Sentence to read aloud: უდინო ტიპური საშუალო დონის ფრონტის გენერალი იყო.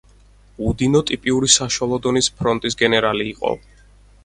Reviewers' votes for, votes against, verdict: 0, 4, rejected